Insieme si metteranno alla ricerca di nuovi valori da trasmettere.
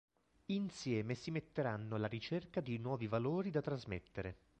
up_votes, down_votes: 2, 0